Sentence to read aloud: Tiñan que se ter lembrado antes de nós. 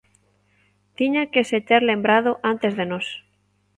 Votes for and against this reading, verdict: 2, 0, accepted